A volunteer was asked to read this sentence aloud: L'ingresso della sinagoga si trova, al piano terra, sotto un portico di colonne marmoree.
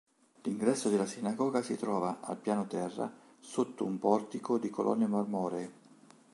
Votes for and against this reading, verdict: 3, 0, accepted